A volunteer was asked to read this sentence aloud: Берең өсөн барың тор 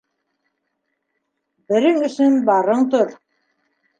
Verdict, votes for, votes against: accepted, 2, 0